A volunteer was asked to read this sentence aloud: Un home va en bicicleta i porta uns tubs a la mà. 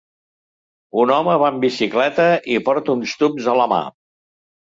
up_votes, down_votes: 2, 0